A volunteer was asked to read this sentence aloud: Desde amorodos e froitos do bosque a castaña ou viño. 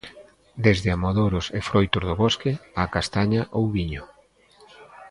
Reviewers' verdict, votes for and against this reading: rejected, 1, 2